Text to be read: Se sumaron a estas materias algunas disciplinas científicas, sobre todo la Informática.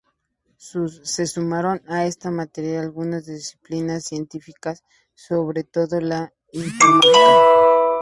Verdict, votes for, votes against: rejected, 0, 2